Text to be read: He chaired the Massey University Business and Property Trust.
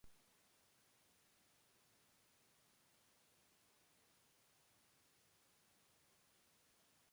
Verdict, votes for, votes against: rejected, 0, 2